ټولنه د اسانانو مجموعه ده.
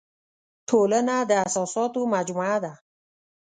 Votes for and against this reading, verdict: 1, 2, rejected